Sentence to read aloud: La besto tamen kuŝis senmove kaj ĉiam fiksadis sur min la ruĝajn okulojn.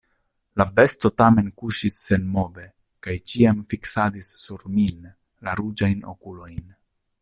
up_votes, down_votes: 2, 0